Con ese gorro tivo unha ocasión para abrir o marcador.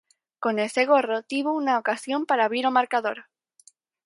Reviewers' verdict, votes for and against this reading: accepted, 4, 0